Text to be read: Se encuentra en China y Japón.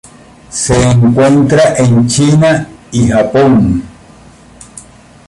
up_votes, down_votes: 0, 2